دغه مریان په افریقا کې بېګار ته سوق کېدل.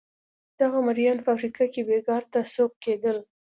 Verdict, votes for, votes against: accepted, 2, 0